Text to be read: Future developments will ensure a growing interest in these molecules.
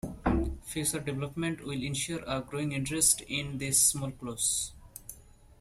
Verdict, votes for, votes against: rejected, 1, 2